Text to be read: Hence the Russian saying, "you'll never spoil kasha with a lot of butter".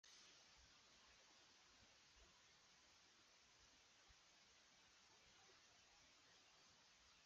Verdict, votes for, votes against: rejected, 0, 2